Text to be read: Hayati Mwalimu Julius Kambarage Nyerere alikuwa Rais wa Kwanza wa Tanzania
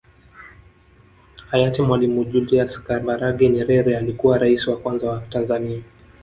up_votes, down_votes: 1, 2